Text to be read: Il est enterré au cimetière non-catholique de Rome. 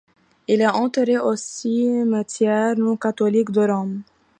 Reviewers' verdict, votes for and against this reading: accepted, 2, 0